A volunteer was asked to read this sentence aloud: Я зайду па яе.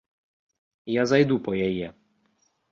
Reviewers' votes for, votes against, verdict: 2, 0, accepted